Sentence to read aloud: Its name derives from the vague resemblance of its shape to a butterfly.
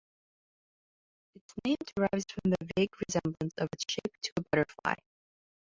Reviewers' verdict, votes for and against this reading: rejected, 1, 2